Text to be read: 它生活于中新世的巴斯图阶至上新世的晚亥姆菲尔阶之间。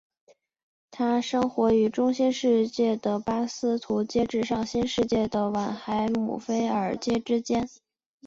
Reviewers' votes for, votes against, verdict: 3, 0, accepted